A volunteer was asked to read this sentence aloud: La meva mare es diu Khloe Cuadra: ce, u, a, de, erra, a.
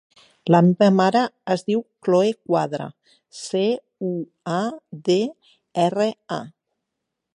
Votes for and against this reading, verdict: 6, 0, accepted